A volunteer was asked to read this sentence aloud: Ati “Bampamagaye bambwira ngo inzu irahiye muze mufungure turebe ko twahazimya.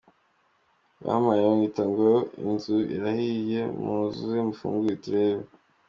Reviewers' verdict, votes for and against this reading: rejected, 1, 2